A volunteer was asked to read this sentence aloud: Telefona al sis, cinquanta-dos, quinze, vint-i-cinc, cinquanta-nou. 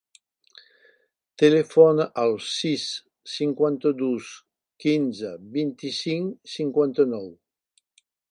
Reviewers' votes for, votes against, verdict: 4, 0, accepted